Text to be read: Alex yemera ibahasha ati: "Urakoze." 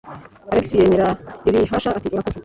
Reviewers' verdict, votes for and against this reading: accepted, 2, 1